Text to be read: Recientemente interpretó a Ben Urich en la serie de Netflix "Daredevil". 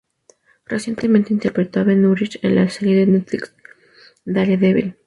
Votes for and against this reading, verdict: 2, 0, accepted